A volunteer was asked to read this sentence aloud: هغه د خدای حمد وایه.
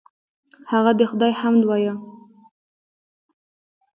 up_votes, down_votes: 2, 1